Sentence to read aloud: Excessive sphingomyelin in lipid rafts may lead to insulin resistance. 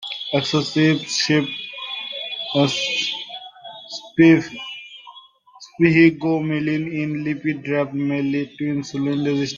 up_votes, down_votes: 0, 2